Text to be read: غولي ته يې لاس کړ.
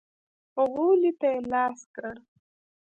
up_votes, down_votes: 1, 2